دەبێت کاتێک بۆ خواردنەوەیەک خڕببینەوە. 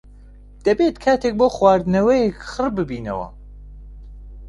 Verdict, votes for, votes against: accepted, 2, 0